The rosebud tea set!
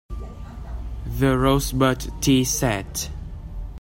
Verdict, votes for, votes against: accepted, 2, 0